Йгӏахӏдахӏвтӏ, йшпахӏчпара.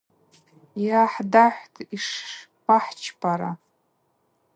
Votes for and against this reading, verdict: 2, 0, accepted